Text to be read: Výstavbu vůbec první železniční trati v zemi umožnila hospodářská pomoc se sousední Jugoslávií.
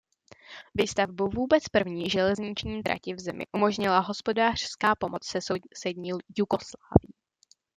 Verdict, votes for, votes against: rejected, 0, 2